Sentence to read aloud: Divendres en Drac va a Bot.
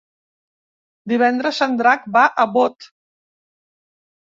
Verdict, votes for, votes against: accepted, 4, 0